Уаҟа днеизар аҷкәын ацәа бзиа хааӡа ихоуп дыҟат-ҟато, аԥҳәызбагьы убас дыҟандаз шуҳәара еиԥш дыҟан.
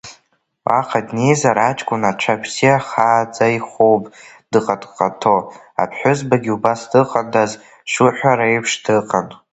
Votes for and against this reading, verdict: 1, 2, rejected